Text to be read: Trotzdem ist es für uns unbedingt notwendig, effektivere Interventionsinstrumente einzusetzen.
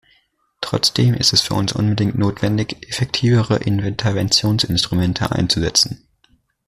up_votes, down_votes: 1, 2